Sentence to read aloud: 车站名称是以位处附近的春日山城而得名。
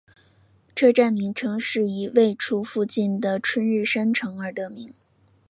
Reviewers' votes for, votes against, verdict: 2, 0, accepted